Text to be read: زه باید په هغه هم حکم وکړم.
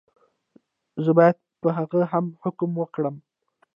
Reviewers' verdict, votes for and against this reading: rejected, 0, 2